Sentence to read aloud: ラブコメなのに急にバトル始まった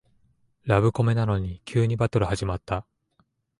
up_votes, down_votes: 2, 0